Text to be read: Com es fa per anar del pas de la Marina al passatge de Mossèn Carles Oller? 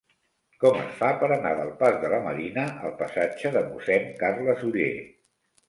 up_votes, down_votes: 0, 2